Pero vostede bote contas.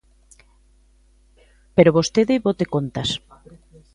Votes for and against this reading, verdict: 1, 2, rejected